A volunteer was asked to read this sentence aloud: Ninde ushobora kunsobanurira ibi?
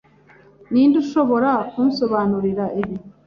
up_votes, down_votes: 2, 0